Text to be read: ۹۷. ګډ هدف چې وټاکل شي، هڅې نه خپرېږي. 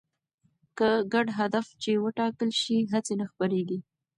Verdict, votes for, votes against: rejected, 0, 2